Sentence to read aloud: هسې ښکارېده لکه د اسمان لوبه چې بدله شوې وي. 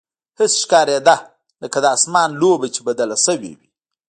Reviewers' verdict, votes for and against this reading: accepted, 2, 0